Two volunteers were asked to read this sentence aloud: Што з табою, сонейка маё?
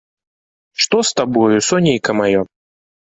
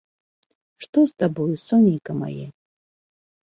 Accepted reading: first